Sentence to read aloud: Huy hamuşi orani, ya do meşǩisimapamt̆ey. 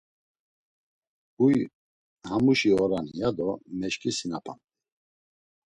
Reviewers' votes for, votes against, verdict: 1, 2, rejected